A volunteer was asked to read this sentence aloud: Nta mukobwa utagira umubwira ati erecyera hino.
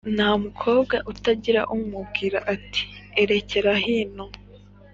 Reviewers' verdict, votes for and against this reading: accepted, 3, 0